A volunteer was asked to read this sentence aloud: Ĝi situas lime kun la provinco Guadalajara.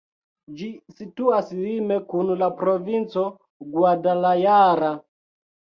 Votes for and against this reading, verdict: 2, 0, accepted